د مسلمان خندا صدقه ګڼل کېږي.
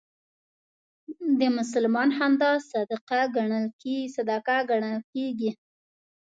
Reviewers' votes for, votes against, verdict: 1, 2, rejected